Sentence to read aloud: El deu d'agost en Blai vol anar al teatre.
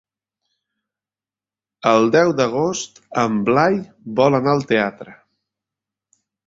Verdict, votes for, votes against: accepted, 3, 1